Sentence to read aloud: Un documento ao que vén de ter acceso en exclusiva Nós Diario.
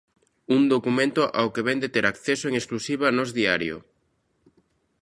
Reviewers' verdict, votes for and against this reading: accepted, 2, 0